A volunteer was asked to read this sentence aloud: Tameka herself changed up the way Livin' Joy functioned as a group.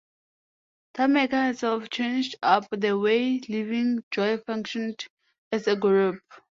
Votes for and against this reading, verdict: 2, 0, accepted